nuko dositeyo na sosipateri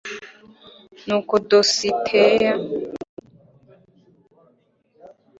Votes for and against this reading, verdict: 0, 3, rejected